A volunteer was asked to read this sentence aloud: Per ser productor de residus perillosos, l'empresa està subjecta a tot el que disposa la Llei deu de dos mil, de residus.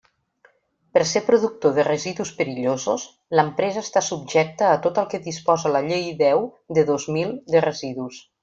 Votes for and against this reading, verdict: 3, 0, accepted